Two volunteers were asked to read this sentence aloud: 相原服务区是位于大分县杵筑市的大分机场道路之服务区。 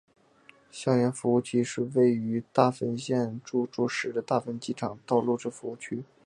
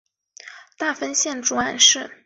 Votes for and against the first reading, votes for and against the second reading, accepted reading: 2, 0, 1, 3, first